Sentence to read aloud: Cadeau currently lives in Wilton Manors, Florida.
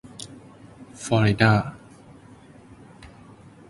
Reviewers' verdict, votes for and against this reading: rejected, 0, 2